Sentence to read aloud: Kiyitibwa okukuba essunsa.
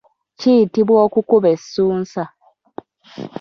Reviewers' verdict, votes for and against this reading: accepted, 2, 1